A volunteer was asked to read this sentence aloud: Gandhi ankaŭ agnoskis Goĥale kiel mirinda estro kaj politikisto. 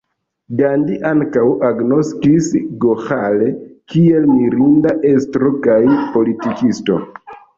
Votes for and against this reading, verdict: 2, 1, accepted